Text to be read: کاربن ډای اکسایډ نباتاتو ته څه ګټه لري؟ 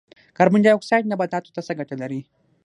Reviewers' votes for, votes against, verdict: 0, 6, rejected